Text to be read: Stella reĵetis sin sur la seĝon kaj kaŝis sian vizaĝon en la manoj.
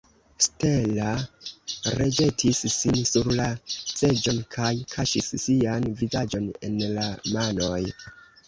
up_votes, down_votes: 0, 2